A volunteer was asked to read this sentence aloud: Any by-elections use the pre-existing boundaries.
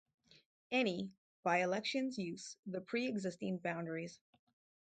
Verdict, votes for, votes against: accepted, 4, 0